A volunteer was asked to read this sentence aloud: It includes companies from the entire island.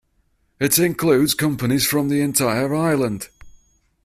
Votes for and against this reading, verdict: 4, 0, accepted